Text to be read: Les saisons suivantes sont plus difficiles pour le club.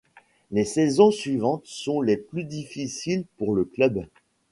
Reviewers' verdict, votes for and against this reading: rejected, 0, 2